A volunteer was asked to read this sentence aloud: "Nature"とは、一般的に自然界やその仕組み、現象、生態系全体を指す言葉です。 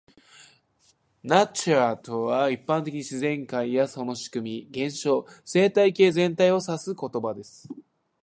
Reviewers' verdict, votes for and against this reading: rejected, 1, 2